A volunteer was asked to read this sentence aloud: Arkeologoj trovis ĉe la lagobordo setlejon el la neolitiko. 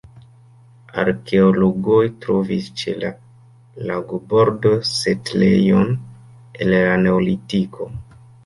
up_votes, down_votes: 2, 1